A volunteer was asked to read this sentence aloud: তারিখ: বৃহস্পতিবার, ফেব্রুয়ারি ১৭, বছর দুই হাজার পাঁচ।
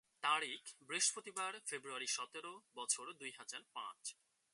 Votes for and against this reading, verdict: 0, 2, rejected